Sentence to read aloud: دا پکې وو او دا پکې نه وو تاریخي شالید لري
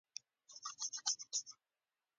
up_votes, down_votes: 0, 2